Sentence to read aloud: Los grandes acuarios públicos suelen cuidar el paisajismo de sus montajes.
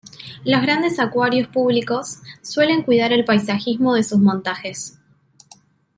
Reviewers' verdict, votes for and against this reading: accepted, 2, 0